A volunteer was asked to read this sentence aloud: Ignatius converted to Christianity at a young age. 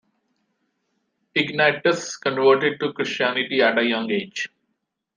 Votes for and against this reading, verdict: 2, 0, accepted